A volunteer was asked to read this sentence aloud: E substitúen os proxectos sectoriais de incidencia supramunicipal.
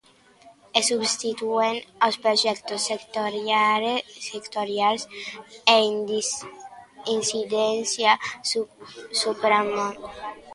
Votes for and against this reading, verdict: 0, 2, rejected